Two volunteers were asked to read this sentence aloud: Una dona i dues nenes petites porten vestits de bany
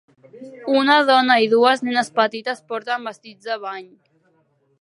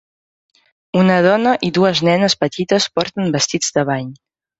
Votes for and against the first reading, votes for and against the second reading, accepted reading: 1, 2, 3, 0, second